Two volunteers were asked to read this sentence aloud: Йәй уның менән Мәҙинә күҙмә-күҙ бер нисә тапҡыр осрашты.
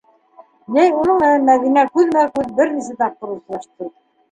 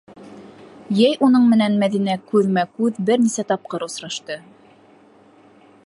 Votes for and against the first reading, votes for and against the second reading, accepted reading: 1, 2, 2, 0, second